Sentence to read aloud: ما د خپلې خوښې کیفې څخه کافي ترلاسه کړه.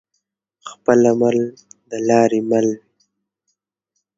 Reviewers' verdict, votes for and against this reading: rejected, 0, 2